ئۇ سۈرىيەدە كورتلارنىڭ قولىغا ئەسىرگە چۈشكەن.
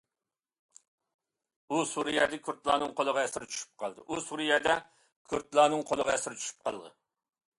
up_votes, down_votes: 0, 2